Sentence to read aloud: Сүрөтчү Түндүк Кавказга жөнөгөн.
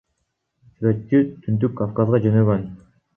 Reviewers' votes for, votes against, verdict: 1, 2, rejected